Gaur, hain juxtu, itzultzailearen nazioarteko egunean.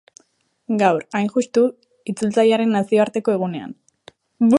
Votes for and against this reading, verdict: 0, 4, rejected